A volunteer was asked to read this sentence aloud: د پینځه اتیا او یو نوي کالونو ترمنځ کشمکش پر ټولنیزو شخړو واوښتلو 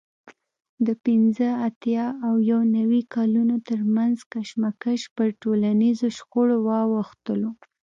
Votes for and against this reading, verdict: 2, 0, accepted